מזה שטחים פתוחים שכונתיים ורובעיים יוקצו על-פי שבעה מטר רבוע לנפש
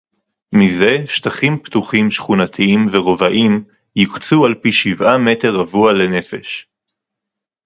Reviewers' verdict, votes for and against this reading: accepted, 2, 0